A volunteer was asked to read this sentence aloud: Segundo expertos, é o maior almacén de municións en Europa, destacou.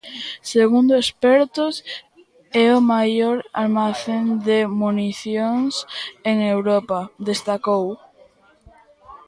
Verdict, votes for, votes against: rejected, 1, 2